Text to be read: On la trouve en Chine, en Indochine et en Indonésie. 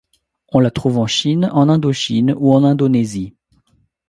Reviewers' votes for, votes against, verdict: 1, 2, rejected